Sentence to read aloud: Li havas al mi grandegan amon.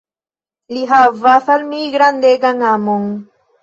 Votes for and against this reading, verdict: 2, 0, accepted